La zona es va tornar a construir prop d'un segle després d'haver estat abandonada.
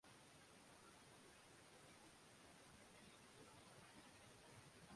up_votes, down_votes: 0, 2